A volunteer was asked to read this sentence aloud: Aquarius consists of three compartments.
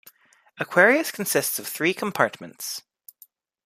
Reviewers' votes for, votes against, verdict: 1, 2, rejected